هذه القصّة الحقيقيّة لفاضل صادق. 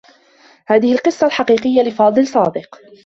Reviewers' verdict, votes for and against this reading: accepted, 2, 1